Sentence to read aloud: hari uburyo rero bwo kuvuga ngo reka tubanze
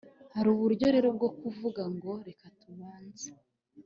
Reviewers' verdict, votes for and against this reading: accepted, 3, 0